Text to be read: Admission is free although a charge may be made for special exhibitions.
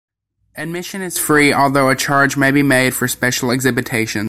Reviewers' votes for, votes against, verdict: 1, 2, rejected